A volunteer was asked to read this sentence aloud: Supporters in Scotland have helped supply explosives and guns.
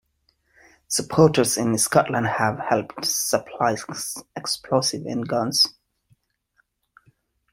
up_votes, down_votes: 0, 2